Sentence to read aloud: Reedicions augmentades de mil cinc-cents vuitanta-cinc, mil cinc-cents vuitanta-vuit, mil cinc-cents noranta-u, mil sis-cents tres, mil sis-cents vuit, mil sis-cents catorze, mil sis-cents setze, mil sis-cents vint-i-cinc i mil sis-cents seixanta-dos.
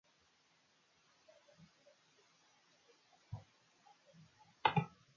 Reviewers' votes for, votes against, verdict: 0, 2, rejected